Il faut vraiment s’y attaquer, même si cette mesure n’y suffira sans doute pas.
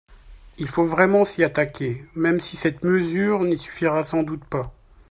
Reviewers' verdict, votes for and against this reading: accepted, 2, 0